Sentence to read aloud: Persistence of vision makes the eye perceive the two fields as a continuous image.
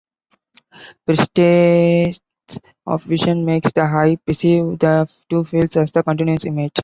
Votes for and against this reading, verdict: 1, 2, rejected